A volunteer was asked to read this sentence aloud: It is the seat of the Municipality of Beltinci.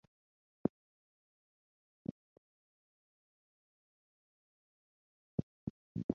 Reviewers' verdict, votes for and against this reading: rejected, 0, 6